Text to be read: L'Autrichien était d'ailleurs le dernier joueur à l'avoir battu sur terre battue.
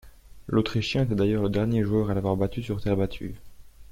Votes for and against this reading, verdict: 2, 0, accepted